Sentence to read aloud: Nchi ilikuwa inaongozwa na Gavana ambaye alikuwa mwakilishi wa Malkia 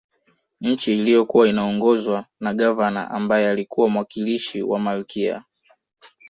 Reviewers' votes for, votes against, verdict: 0, 2, rejected